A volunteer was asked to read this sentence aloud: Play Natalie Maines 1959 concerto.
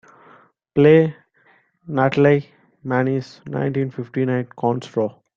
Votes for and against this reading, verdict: 0, 2, rejected